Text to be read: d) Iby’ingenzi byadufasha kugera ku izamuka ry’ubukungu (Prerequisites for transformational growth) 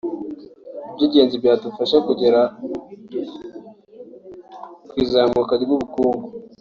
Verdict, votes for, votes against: rejected, 0, 2